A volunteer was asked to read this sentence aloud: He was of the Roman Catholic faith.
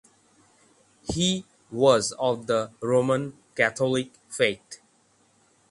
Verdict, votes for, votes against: rejected, 3, 3